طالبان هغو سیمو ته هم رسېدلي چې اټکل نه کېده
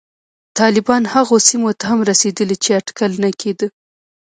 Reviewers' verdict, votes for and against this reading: rejected, 0, 2